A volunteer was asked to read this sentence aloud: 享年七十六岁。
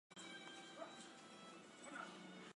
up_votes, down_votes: 0, 2